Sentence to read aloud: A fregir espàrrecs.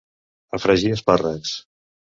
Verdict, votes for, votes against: accepted, 2, 0